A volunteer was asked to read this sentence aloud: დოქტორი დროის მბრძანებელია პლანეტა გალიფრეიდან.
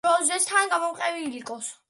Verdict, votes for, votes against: rejected, 0, 2